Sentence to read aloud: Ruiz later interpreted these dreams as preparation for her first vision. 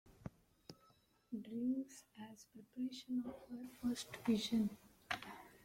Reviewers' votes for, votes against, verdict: 0, 2, rejected